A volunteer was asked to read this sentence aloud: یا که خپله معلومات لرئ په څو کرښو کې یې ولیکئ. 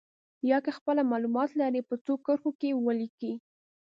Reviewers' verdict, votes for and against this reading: accepted, 2, 0